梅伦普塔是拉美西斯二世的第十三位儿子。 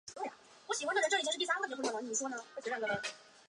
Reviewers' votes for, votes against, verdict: 1, 2, rejected